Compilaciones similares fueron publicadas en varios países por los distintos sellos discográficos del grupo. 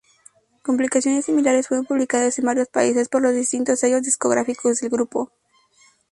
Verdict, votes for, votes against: accepted, 2, 0